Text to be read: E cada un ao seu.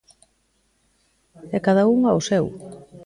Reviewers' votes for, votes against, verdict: 0, 2, rejected